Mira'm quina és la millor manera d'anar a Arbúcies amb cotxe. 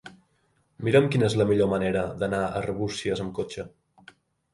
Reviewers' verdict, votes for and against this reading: accepted, 2, 0